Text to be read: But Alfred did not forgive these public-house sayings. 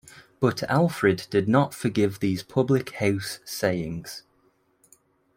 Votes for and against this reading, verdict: 2, 0, accepted